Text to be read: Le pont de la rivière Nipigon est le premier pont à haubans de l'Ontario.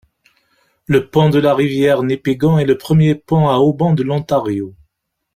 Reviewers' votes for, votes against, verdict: 2, 0, accepted